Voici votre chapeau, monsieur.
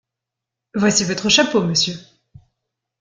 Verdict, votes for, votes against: accepted, 2, 0